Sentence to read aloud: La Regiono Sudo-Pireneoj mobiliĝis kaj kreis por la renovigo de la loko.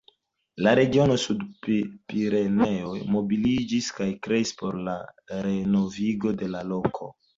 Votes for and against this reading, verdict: 2, 0, accepted